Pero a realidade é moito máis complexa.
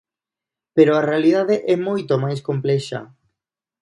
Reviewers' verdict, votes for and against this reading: accepted, 2, 0